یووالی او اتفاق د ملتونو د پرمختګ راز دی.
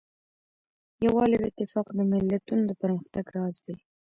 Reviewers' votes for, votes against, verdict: 2, 0, accepted